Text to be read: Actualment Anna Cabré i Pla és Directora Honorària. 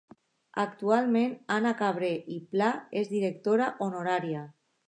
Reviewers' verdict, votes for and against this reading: accepted, 2, 0